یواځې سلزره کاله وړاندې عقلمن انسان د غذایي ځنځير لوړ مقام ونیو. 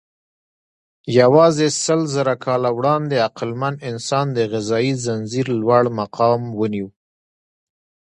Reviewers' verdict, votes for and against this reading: rejected, 1, 2